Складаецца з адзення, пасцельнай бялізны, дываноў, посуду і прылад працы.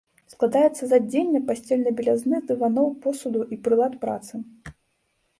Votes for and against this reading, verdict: 1, 2, rejected